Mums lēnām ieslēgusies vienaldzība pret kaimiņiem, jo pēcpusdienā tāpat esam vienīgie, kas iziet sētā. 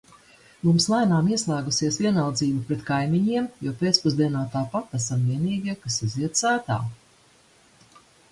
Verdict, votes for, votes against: accepted, 2, 1